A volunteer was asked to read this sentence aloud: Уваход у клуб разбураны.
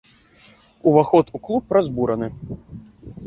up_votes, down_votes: 2, 0